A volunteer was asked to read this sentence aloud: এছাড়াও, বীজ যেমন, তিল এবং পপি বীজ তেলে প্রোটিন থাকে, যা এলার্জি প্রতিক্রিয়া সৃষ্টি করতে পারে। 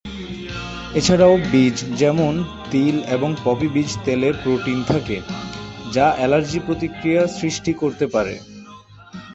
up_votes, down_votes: 3, 3